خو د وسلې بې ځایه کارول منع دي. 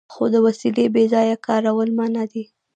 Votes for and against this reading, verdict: 1, 2, rejected